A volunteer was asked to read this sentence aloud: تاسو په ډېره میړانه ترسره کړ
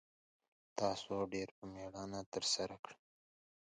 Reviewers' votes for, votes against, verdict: 1, 2, rejected